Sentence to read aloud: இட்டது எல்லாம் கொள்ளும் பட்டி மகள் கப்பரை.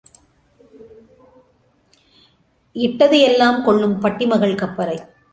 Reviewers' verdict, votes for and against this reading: accepted, 2, 0